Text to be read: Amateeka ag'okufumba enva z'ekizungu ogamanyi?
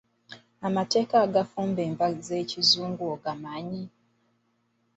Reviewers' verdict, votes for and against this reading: rejected, 0, 2